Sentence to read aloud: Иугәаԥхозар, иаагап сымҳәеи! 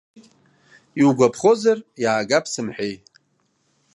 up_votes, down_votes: 2, 0